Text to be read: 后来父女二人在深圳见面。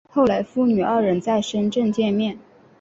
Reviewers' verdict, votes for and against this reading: accepted, 2, 0